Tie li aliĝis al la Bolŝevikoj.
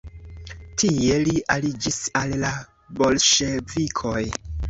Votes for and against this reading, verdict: 3, 0, accepted